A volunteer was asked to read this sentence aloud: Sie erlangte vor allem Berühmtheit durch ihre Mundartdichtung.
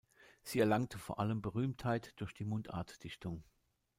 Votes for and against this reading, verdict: 1, 2, rejected